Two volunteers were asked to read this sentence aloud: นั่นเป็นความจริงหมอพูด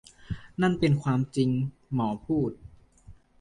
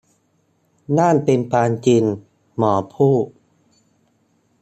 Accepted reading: first